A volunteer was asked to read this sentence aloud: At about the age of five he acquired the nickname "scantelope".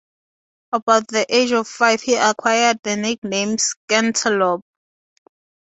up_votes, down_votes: 2, 0